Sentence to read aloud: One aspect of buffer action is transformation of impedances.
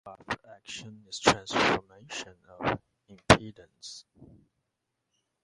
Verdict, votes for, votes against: rejected, 0, 2